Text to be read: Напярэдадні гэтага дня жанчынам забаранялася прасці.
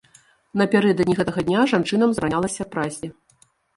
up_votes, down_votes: 0, 2